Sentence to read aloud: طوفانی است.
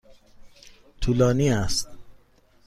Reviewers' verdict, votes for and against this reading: rejected, 1, 2